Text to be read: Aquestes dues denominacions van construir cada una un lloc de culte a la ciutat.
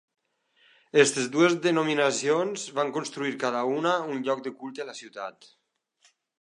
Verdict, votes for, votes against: rejected, 1, 2